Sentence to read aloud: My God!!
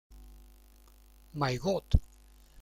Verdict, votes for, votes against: rejected, 0, 2